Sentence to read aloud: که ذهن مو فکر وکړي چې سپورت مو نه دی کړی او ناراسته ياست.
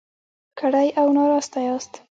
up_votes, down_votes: 0, 2